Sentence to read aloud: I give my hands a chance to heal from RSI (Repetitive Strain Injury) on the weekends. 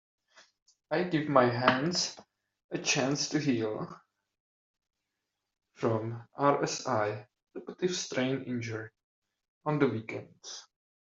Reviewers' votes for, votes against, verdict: 1, 2, rejected